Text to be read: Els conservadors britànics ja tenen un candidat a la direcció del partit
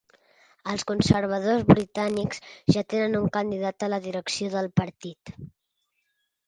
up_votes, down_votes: 3, 0